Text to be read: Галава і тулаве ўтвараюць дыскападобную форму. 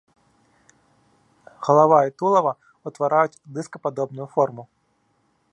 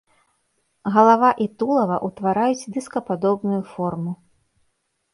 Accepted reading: first